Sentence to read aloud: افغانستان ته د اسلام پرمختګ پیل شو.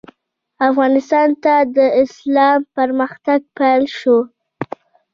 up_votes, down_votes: 2, 0